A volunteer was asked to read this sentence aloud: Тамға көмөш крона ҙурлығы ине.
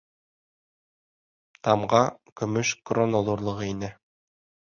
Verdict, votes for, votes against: rejected, 0, 2